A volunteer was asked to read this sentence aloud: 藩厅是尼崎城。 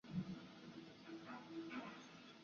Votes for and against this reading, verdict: 0, 2, rejected